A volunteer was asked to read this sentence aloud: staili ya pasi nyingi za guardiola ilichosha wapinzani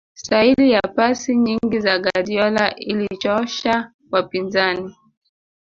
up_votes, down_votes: 2, 0